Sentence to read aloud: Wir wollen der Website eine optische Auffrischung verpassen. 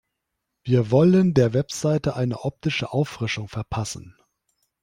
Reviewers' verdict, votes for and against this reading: rejected, 1, 3